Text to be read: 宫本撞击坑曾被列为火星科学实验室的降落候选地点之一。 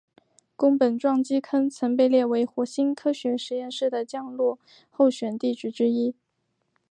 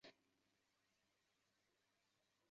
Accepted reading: first